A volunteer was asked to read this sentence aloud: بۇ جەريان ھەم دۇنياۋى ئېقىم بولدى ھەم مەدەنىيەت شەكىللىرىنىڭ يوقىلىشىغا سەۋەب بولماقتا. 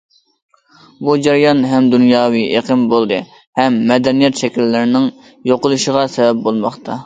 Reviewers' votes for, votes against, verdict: 2, 0, accepted